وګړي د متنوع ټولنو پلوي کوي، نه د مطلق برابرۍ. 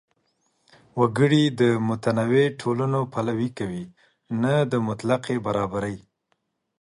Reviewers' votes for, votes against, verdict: 2, 0, accepted